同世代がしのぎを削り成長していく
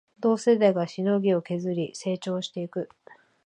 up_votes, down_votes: 2, 0